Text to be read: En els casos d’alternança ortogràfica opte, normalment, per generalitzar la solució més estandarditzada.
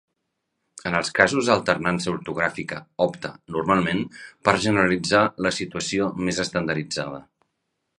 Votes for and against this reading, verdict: 2, 3, rejected